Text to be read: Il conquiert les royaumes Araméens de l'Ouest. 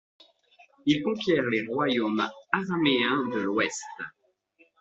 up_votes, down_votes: 2, 0